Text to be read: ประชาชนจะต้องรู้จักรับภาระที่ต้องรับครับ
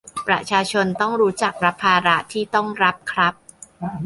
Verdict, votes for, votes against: rejected, 0, 2